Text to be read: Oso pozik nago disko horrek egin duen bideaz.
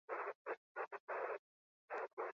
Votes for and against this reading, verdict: 6, 4, accepted